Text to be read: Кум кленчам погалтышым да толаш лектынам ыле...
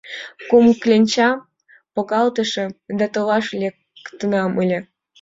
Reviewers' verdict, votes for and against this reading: accepted, 2, 0